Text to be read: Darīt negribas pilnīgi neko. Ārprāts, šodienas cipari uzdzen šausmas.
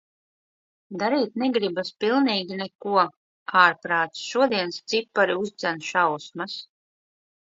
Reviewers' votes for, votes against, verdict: 2, 0, accepted